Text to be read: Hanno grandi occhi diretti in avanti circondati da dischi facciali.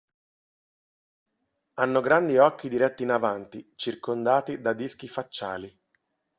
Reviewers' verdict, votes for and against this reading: accepted, 2, 0